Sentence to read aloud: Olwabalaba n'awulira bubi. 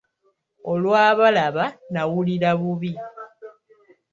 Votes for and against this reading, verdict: 0, 2, rejected